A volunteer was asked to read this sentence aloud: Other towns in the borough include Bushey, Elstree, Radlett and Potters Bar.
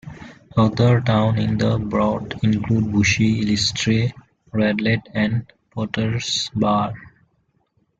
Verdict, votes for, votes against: accepted, 2, 1